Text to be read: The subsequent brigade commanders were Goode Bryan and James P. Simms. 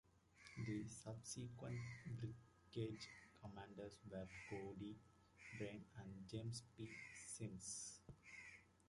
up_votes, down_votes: 2, 1